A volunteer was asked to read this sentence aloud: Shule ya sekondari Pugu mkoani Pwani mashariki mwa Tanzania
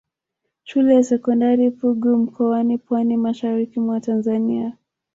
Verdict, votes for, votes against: rejected, 1, 2